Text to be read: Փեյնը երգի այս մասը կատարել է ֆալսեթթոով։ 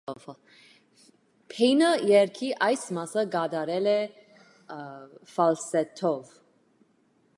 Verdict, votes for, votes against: rejected, 1, 2